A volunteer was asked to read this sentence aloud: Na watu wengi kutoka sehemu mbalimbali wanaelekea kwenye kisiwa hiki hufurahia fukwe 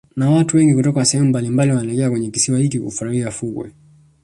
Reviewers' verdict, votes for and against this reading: rejected, 1, 2